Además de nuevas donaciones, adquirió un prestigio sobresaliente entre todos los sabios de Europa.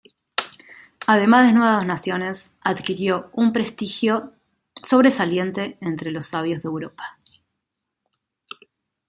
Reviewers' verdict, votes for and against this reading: rejected, 1, 2